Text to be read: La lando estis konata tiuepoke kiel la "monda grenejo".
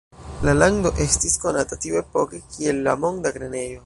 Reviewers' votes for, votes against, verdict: 1, 2, rejected